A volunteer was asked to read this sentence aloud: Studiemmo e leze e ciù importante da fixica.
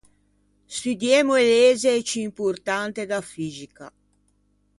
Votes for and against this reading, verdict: 0, 2, rejected